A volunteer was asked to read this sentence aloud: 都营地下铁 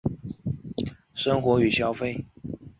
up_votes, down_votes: 0, 4